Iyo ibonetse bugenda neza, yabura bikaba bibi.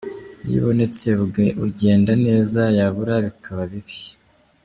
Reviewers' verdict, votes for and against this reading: rejected, 0, 2